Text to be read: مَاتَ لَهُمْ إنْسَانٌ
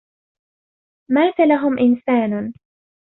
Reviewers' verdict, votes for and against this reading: accepted, 2, 0